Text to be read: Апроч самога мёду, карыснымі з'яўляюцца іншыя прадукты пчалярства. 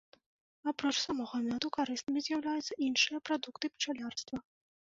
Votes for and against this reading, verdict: 2, 1, accepted